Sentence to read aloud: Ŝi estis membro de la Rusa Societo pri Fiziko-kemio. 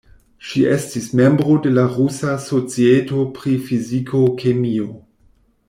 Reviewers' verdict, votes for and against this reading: accepted, 2, 0